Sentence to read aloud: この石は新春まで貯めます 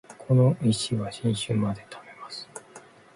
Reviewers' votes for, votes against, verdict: 2, 0, accepted